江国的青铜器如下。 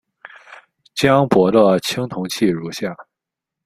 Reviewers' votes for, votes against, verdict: 1, 2, rejected